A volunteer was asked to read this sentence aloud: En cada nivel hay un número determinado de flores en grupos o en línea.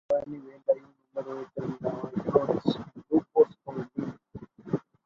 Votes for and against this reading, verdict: 0, 2, rejected